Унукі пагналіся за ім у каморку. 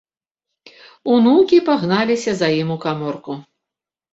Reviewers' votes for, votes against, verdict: 2, 0, accepted